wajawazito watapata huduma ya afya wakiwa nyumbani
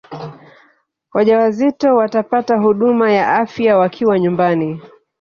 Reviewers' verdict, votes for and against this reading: rejected, 1, 2